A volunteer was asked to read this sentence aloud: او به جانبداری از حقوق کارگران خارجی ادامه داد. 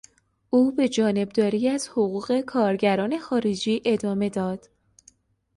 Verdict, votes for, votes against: accepted, 2, 0